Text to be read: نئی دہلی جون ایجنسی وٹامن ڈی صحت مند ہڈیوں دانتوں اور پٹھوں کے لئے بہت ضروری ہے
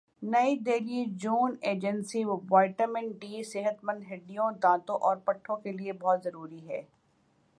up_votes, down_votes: 2, 0